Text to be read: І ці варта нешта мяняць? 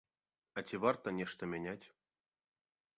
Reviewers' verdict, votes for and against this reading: rejected, 1, 2